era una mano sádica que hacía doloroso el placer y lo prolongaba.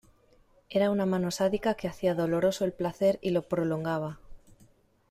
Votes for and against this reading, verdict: 2, 0, accepted